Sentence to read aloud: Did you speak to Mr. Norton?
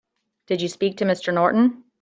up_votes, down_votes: 2, 0